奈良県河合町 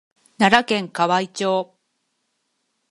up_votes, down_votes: 6, 0